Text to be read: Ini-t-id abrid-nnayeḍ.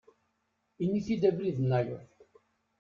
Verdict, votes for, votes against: accepted, 2, 0